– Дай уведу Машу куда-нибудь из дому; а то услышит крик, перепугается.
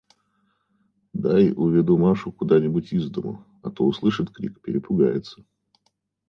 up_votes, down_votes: 2, 0